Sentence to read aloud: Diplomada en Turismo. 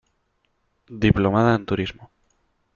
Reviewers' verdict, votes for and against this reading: accepted, 2, 0